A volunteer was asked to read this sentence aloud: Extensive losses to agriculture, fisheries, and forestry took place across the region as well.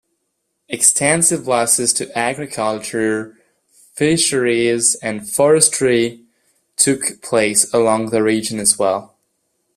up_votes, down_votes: 1, 2